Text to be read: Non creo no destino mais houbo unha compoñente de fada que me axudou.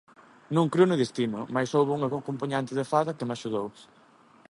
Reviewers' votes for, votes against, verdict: 0, 2, rejected